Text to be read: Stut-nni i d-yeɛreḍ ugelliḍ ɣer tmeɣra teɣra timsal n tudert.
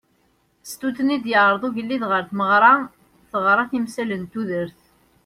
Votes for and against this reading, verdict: 2, 1, accepted